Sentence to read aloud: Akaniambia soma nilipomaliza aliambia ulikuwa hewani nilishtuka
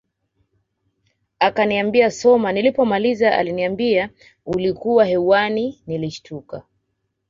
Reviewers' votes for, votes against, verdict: 2, 0, accepted